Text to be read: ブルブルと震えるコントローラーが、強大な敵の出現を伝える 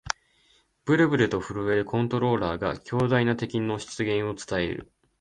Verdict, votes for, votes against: accepted, 2, 0